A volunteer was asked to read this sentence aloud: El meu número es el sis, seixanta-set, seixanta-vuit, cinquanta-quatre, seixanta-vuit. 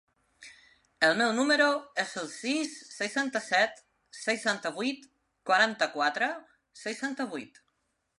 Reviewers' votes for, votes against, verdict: 0, 2, rejected